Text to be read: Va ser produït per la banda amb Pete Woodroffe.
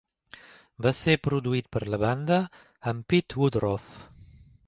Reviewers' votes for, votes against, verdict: 2, 0, accepted